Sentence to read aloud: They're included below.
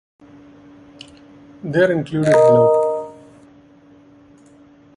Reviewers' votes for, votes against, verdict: 0, 2, rejected